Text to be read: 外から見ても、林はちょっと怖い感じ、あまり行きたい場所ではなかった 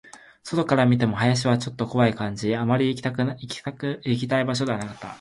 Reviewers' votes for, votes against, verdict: 2, 2, rejected